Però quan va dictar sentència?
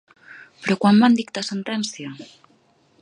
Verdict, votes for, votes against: rejected, 1, 2